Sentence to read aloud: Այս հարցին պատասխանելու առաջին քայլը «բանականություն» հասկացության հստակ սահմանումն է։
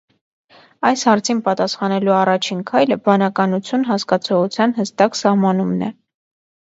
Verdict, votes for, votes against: rejected, 1, 2